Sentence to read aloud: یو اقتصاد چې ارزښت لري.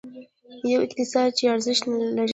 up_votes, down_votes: 0, 2